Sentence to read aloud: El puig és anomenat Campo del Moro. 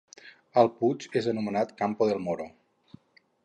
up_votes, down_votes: 2, 2